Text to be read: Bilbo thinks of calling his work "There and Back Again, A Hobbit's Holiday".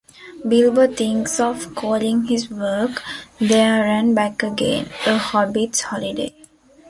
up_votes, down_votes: 3, 0